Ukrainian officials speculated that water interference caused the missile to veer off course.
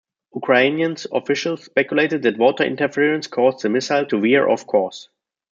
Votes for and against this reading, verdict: 1, 2, rejected